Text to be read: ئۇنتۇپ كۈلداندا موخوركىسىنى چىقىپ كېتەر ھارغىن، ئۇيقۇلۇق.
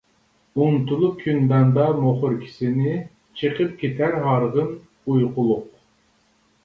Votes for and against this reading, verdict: 0, 2, rejected